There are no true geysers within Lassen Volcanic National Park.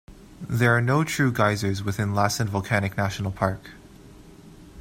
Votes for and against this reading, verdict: 2, 0, accepted